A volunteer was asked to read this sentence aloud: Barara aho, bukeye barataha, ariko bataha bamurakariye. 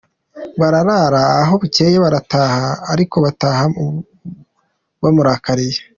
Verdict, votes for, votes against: rejected, 1, 2